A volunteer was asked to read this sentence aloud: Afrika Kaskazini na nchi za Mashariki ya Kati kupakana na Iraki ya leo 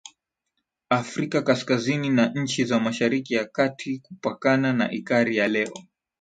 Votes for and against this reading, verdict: 4, 5, rejected